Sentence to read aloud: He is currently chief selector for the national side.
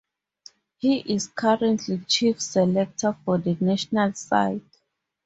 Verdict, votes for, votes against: rejected, 2, 2